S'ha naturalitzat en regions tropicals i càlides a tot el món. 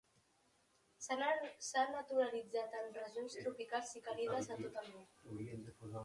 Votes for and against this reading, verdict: 1, 2, rejected